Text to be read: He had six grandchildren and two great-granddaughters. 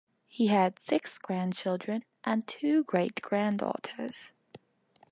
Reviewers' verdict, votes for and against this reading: accepted, 3, 1